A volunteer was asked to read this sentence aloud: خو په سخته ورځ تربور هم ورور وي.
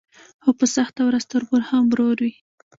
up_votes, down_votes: 1, 2